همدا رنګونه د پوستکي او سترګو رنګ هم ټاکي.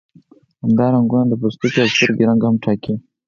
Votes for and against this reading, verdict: 2, 4, rejected